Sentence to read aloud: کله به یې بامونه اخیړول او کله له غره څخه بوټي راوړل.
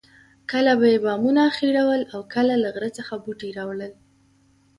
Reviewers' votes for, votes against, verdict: 2, 0, accepted